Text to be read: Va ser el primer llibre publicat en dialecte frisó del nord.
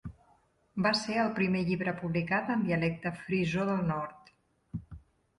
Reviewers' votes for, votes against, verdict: 3, 0, accepted